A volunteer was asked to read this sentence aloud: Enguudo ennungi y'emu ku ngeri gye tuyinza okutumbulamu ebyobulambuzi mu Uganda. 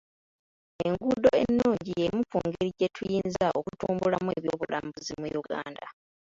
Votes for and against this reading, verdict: 1, 2, rejected